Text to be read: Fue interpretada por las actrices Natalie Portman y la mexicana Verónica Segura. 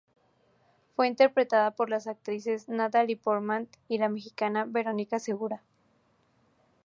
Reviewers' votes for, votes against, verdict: 2, 0, accepted